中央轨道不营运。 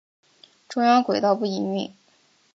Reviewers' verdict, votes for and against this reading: accepted, 2, 0